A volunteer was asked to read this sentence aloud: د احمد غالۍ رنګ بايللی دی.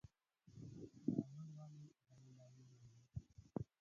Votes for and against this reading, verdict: 2, 4, rejected